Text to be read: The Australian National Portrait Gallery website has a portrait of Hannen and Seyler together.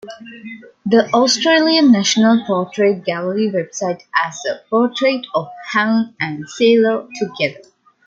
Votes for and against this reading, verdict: 1, 2, rejected